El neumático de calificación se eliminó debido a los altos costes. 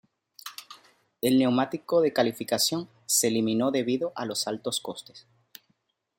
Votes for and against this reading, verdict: 2, 0, accepted